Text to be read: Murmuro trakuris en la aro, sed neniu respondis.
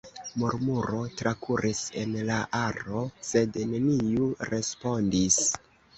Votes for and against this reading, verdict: 2, 0, accepted